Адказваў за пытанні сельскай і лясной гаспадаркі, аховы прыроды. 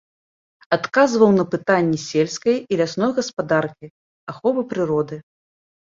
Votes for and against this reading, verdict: 0, 2, rejected